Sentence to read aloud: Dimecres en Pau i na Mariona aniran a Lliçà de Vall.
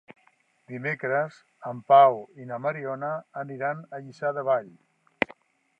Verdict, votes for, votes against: accepted, 2, 0